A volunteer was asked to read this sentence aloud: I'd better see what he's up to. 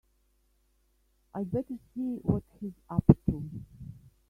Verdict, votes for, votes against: rejected, 0, 3